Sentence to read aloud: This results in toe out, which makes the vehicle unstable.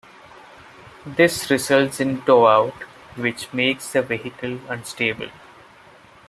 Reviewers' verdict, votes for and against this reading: accepted, 2, 0